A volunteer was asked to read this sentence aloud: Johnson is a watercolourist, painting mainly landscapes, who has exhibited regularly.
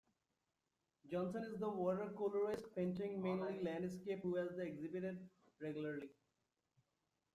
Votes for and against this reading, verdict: 0, 2, rejected